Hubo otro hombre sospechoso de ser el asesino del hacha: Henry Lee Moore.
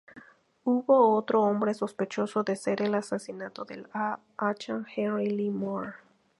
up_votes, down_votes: 0, 2